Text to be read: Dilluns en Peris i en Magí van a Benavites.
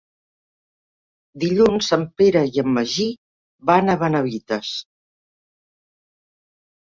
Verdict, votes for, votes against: rejected, 0, 2